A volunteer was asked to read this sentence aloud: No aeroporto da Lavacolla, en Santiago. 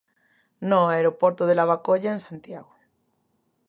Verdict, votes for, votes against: rejected, 0, 2